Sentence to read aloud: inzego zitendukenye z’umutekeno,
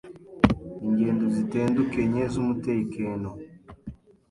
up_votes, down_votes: 1, 2